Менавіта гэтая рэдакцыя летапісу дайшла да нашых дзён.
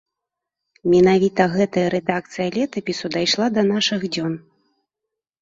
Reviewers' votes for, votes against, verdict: 2, 0, accepted